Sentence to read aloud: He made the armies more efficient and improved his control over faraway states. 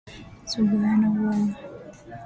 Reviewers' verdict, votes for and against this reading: rejected, 0, 2